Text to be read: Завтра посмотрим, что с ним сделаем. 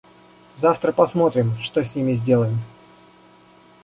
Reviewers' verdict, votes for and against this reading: rejected, 1, 2